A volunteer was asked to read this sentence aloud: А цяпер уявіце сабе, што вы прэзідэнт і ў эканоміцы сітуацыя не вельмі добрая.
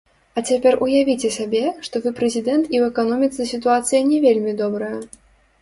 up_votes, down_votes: 0, 2